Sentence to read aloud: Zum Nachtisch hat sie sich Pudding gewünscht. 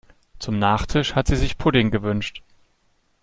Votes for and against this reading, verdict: 2, 0, accepted